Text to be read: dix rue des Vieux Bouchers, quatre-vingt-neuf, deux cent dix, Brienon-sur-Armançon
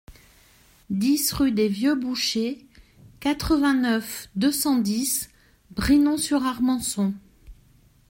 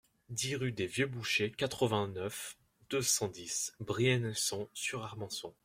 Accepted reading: first